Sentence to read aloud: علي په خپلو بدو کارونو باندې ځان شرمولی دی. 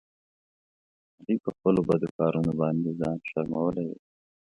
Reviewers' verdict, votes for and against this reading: rejected, 1, 2